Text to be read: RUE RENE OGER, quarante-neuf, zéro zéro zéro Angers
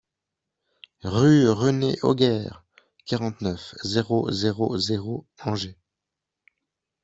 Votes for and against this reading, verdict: 2, 1, accepted